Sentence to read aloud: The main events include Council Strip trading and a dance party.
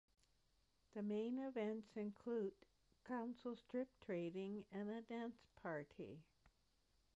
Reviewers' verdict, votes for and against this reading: accepted, 2, 1